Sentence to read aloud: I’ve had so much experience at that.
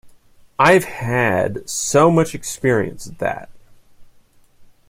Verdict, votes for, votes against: accepted, 2, 0